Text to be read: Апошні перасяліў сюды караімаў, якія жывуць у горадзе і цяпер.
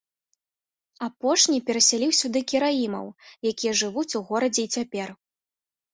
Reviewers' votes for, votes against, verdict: 3, 1, accepted